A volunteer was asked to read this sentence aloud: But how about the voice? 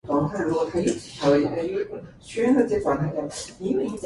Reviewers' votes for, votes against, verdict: 0, 2, rejected